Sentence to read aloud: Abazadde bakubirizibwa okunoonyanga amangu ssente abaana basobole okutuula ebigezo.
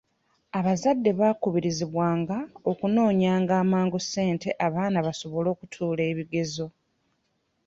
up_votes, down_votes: 2, 0